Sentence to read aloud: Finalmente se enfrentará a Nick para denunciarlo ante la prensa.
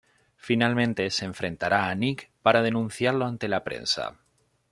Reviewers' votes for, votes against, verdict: 1, 2, rejected